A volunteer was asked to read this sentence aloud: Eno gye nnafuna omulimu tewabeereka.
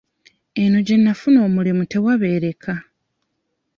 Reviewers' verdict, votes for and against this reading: accepted, 2, 0